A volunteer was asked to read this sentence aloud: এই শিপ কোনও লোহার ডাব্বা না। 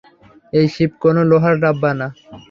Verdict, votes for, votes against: rejected, 0, 3